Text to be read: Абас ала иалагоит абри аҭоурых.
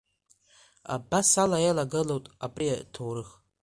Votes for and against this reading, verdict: 0, 2, rejected